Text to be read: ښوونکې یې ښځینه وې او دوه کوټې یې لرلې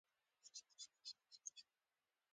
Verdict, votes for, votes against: rejected, 0, 2